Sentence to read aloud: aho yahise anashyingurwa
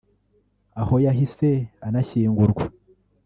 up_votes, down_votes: 3, 0